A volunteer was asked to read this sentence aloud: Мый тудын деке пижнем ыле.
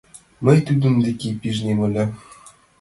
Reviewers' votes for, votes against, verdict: 2, 0, accepted